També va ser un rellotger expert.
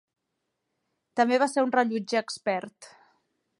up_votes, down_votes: 2, 0